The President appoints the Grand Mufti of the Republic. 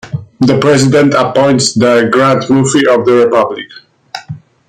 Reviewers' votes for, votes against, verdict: 2, 0, accepted